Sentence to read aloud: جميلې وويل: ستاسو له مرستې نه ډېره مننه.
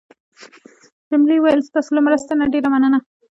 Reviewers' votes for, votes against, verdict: 0, 2, rejected